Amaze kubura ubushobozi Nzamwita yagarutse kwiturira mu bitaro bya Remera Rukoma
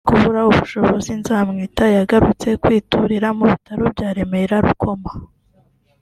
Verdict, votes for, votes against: accepted, 2, 0